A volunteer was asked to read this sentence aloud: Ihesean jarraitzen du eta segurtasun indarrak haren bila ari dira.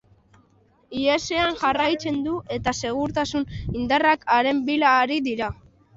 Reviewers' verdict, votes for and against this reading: accepted, 2, 1